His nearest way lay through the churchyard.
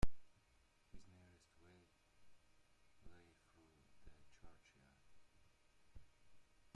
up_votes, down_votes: 1, 2